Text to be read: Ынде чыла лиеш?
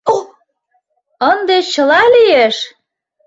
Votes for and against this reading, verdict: 1, 2, rejected